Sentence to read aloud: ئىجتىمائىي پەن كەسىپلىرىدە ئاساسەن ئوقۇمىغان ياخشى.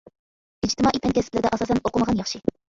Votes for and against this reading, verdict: 1, 2, rejected